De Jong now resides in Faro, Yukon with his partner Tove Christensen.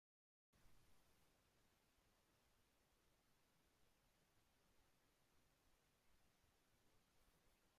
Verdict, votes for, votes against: rejected, 0, 2